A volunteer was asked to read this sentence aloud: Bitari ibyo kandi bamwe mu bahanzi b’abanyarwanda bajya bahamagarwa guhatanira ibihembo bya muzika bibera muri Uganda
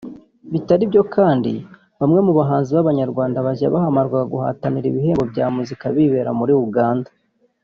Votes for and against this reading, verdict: 2, 0, accepted